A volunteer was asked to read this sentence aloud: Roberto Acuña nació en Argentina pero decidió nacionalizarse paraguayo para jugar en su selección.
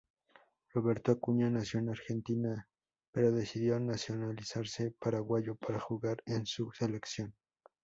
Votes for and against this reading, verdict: 2, 0, accepted